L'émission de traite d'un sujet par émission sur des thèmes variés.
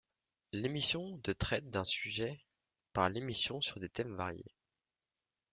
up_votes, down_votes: 2, 0